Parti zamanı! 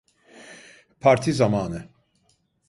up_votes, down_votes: 2, 0